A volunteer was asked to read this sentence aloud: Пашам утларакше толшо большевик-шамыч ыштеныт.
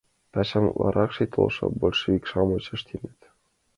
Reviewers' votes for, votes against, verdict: 0, 2, rejected